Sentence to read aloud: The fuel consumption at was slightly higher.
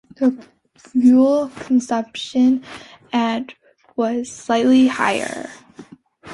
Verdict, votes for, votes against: accepted, 2, 0